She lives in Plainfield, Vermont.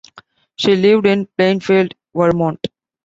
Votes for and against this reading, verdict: 1, 2, rejected